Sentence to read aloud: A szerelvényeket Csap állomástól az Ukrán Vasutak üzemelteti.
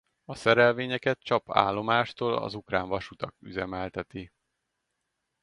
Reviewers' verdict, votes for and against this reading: accepted, 2, 0